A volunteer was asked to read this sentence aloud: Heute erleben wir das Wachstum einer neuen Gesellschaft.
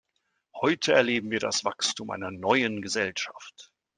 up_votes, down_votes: 2, 0